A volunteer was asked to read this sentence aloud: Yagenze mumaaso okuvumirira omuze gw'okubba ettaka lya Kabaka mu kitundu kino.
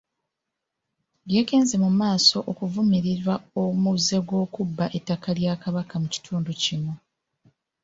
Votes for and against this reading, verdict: 2, 0, accepted